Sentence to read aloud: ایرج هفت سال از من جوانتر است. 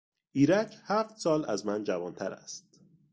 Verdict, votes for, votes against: accepted, 2, 0